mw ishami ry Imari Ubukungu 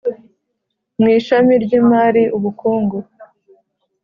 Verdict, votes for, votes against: accepted, 4, 0